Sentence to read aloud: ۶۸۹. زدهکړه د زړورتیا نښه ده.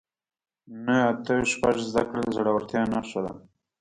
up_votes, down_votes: 0, 2